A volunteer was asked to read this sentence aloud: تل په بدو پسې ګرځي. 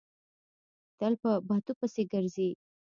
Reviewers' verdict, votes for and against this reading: rejected, 1, 2